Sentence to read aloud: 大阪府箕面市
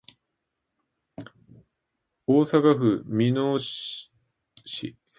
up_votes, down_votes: 1, 2